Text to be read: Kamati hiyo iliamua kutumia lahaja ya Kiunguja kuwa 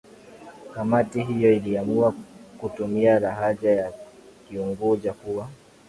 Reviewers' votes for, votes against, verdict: 2, 1, accepted